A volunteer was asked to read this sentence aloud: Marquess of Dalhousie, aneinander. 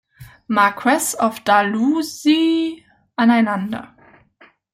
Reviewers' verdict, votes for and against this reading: rejected, 0, 2